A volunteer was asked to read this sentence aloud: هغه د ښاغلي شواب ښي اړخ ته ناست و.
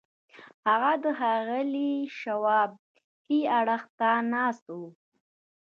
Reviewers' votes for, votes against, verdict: 2, 0, accepted